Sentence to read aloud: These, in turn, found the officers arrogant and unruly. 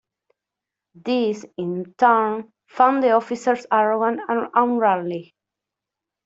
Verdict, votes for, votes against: rejected, 1, 2